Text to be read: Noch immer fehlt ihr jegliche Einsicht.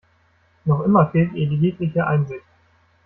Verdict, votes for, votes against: rejected, 0, 2